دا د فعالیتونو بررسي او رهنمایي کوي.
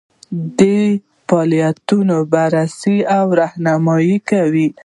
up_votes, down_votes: 0, 2